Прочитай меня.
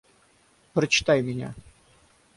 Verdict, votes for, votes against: accepted, 3, 0